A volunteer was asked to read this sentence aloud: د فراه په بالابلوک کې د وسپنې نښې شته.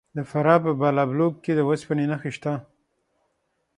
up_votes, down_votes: 6, 0